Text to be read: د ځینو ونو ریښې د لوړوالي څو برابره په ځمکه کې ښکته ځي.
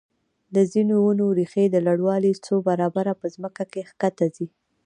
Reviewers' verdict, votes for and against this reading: rejected, 0, 2